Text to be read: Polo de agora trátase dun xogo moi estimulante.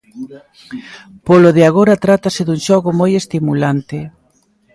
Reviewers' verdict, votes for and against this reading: rejected, 1, 2